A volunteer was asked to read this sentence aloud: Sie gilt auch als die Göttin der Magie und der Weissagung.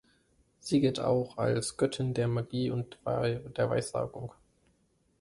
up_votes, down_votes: 0, 3